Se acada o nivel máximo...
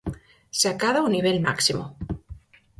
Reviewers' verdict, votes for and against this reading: accepted, 4, 0